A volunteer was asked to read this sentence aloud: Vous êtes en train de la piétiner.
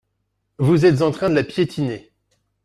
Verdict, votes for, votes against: accepted, 2, 1